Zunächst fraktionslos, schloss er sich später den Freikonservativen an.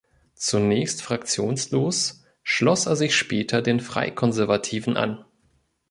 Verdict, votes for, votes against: accepted, 4, 0